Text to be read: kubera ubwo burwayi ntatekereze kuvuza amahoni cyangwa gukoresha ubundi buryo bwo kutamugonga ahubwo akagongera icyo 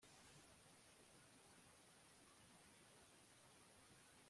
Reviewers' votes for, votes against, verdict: 1, 2, rejected